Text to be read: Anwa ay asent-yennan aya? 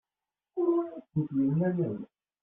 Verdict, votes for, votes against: rejected, 0, 2